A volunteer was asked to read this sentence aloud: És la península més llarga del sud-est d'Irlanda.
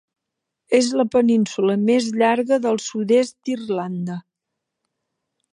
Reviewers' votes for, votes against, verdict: 3, 0, accepted